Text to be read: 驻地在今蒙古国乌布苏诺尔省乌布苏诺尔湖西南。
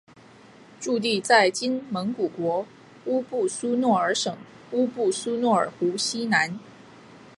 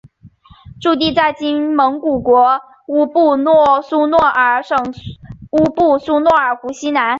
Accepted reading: first